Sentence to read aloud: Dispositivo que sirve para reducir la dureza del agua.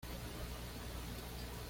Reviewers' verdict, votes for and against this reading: rejected, 1, 2